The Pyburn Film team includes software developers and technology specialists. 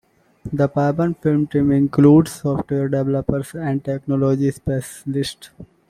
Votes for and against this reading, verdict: 2, 1, accepted